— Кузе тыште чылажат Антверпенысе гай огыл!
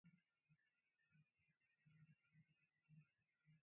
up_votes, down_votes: 0, 2